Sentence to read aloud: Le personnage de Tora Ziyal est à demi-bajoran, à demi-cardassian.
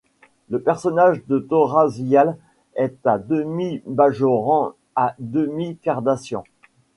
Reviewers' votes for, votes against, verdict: 2, 0, accepted